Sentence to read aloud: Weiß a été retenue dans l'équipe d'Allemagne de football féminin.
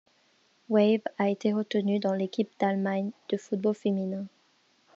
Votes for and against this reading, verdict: 2, 1, accepted